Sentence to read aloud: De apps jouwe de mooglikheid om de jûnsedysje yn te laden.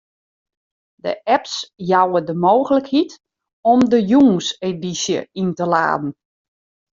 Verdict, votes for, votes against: accepted, 2, 0